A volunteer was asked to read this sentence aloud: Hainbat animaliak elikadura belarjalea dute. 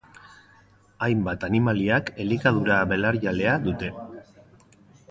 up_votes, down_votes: 1, 2